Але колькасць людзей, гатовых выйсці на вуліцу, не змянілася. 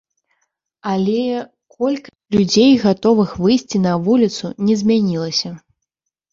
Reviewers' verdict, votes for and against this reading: rejected, 1, 2